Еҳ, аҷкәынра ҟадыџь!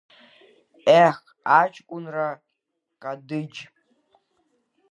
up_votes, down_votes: 1, 2